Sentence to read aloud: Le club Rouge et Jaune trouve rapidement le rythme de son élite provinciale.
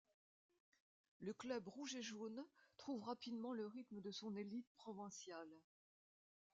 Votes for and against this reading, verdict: 0, 2, rejected